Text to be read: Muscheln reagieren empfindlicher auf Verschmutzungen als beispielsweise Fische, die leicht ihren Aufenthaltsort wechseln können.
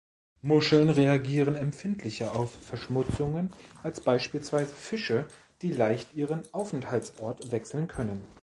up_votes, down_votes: 2, 0